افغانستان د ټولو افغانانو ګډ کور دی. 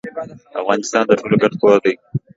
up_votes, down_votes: 0, 2